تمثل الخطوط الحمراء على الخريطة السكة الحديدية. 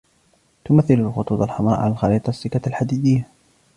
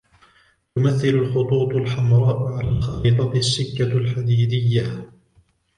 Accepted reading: second